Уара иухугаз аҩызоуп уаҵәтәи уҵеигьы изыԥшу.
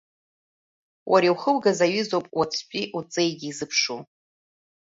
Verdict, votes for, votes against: accepted, 2, 0